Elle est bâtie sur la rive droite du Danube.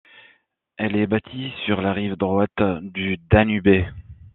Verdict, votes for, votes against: rejected, 1, 2